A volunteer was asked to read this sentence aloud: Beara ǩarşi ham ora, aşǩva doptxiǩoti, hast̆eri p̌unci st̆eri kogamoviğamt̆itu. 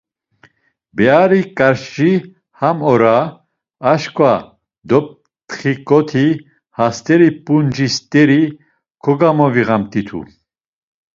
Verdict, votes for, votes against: rejected, 1, 2